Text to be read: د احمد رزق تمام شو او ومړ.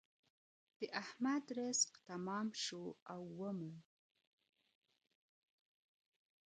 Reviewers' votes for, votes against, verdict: 1, 2, rejected